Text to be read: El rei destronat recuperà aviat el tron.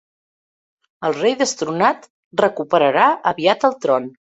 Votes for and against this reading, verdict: 1, 2, rejected